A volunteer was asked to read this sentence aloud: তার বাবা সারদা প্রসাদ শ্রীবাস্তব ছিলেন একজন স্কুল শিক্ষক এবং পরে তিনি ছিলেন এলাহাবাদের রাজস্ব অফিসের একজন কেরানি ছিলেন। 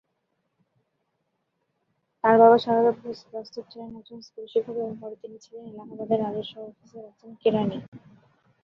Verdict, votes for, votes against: rejected, 1, 5